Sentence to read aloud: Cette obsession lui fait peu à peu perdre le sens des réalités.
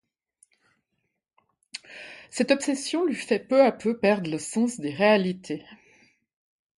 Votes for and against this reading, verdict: 2, 0, accepted